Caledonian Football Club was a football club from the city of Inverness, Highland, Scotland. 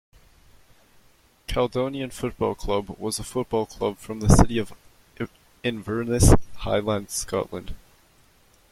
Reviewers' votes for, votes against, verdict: 0, 2, rejected